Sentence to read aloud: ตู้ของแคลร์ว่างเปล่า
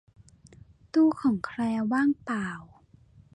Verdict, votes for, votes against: accepted, 2, 0